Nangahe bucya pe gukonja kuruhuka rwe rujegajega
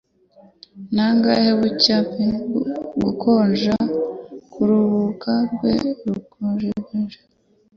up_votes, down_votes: 2, 0